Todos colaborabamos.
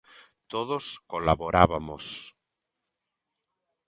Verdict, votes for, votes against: rejected, 0, 2